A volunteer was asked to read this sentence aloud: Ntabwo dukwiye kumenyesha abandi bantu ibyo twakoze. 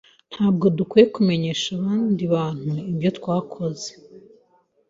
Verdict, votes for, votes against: accepted, 2, 0